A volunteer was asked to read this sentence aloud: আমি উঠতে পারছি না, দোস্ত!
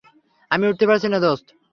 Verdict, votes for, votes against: accepted, 3, 0